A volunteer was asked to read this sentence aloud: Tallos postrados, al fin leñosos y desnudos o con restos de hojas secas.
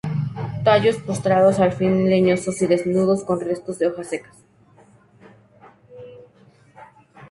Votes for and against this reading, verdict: 0, 2, rejected